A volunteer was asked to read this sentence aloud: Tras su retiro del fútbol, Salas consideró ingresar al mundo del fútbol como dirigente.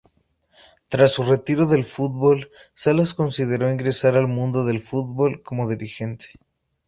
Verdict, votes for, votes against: accepted, 2, 0